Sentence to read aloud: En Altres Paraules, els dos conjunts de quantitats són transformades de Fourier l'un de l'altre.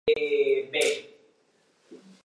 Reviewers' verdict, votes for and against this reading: rejected, 0, 2